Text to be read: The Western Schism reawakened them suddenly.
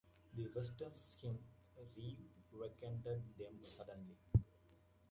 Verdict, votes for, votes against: rejected, 1, 2